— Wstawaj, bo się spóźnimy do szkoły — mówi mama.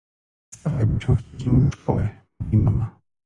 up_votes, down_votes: 0, 2